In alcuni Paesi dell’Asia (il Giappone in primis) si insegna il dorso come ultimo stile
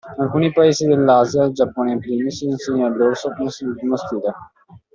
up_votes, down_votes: 0, 2